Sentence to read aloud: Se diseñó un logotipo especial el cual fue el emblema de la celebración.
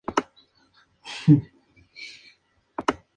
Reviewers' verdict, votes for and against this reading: rejected, 0, 2